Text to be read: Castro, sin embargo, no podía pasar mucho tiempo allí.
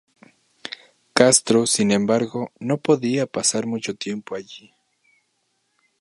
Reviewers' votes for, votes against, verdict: 0, 2, rejected